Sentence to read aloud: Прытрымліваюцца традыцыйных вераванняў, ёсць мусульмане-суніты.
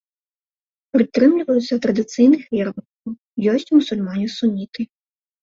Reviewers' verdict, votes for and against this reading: rejected, 0, 2